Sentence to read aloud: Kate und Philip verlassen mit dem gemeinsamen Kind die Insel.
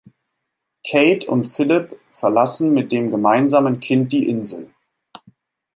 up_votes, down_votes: 2, 0